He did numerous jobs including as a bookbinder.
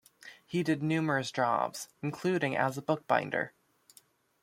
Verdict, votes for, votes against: accepted, 2, 0